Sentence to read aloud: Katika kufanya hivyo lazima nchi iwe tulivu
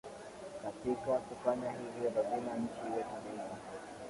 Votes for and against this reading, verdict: 2, 1, accepted